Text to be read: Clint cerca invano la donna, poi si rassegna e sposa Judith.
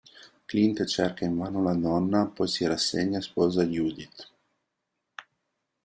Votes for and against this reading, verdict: 1, 2, rejected